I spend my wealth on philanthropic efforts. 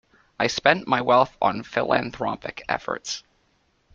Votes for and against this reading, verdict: 2, 3, rejected